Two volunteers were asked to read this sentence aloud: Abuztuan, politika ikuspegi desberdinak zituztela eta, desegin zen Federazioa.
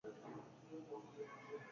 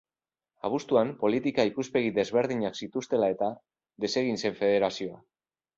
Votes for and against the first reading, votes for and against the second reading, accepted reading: 0, 4, 3, 0, second